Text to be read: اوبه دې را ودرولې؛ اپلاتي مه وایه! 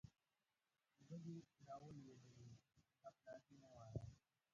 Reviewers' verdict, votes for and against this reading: rejected, 1, 2